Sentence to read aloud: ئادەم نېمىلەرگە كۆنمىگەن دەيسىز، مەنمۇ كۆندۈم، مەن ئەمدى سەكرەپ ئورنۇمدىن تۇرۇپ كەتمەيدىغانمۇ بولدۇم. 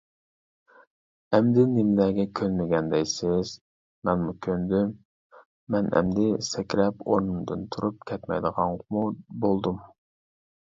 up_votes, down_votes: 0, 2